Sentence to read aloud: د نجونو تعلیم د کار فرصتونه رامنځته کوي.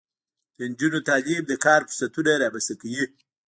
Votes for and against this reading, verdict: 0, 2, rejected